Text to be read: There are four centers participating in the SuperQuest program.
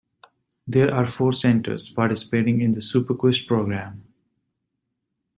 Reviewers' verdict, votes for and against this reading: accepted, 2, 0